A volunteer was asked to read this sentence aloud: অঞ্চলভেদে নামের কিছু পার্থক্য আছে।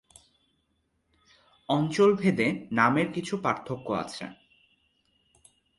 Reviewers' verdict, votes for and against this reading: accepted, 2, 0